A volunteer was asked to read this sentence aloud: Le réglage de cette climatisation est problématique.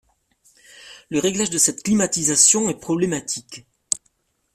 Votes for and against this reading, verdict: 2, 0, accepted